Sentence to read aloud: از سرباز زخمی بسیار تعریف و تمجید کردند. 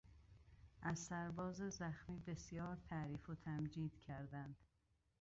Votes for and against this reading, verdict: 2, 0, accepted